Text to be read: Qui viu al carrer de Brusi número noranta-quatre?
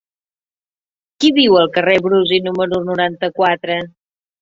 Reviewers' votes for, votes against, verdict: 1, 2, rejected